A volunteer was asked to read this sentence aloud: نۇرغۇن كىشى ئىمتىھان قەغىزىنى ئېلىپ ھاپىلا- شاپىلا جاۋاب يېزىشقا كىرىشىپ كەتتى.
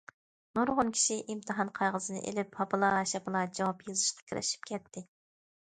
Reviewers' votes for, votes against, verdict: 2, 0, accepted